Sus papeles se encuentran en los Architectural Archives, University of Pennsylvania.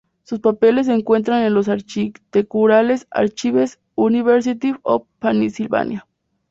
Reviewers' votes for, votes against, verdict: 0, 2, rejected